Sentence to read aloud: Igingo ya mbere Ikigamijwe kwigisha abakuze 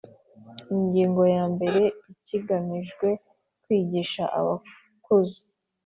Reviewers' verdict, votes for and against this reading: accepted, 2, 0